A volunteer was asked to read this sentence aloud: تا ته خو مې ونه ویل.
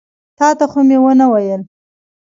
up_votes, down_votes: 1, 2